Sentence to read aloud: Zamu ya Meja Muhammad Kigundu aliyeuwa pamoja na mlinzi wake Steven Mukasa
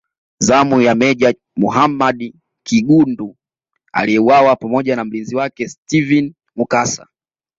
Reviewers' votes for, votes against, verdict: 2, 0, accepted